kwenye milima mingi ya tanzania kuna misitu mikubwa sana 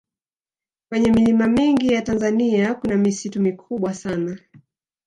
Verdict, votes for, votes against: rejected, 1, 2